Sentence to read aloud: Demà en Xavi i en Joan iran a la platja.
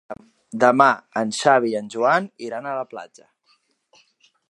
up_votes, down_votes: 2, 0